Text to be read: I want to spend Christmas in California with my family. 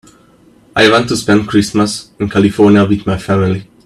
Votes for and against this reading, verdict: 2, 0, accepted